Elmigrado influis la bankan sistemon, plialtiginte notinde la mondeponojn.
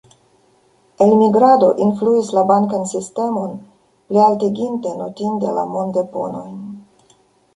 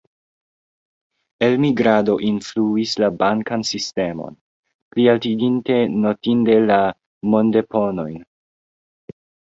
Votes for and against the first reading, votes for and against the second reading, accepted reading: 1, 2, 2, 0, second